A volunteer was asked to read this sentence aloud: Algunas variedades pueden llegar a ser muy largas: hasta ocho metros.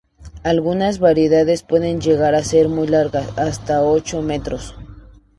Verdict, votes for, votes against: accepted, 2, 0